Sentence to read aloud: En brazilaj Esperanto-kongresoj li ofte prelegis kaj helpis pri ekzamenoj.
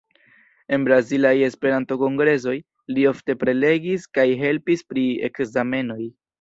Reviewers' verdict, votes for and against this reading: rejected, 1, 2